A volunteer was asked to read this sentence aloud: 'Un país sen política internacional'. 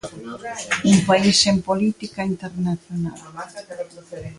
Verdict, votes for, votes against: accepted, 2, 1